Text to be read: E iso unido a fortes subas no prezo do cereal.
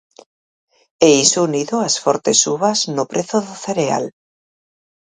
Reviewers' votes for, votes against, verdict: 0, 4, rejected